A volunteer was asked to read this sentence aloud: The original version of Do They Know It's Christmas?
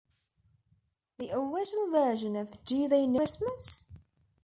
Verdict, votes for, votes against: rejected, 1, 2